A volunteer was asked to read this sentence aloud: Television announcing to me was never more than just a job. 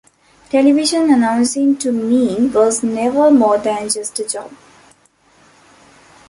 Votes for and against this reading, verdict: 2, 0, accepted